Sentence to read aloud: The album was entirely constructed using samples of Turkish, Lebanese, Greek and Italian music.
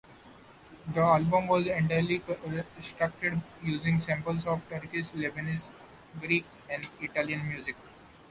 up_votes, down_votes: 1, 2